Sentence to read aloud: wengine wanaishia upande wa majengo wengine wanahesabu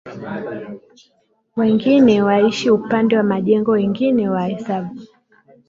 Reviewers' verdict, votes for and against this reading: rejected, 0, 2